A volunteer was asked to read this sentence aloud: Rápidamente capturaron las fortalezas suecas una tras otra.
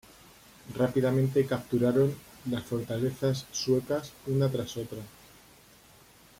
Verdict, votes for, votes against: accepted, 2, 0